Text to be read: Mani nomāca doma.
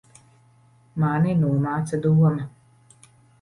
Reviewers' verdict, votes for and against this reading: accepted, 2, 0